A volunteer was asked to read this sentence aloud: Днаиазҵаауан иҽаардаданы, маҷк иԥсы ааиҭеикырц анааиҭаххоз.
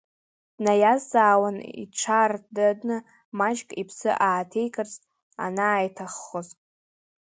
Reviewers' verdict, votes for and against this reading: rejected, 0, 2